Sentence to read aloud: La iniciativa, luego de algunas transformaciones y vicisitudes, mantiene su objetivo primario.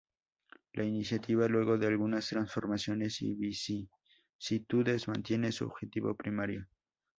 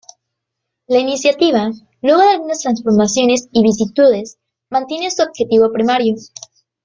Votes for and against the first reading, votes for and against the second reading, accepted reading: 2, 0, 1, 2, first